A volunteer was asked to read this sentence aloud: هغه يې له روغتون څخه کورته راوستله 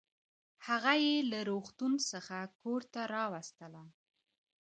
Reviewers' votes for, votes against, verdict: 2, 1, accepted